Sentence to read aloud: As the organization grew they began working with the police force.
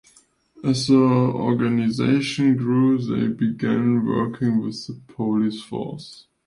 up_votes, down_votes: 2, 0